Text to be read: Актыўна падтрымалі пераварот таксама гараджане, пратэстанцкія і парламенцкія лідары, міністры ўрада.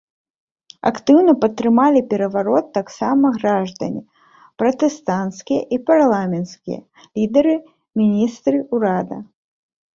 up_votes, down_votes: 0, 2